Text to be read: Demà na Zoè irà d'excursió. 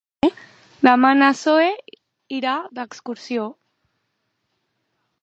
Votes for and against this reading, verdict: 1, 2, rejected